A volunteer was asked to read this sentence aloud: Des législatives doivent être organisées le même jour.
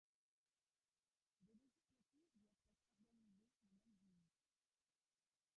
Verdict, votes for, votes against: rejected, 0, 2